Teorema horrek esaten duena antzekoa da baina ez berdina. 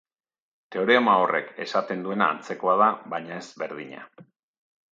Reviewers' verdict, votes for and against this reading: accepted, 3, 0